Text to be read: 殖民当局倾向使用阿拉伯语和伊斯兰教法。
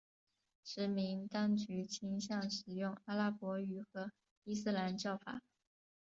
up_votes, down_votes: 2, 1